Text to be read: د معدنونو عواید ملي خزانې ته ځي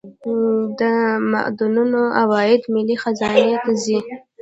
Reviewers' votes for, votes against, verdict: 0, 2, rejected